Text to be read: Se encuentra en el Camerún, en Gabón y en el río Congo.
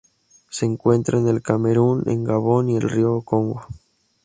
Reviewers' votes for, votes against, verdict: 2, 2, rejected